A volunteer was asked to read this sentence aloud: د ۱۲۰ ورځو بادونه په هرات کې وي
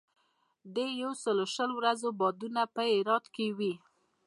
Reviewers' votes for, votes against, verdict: 0, 2, rejected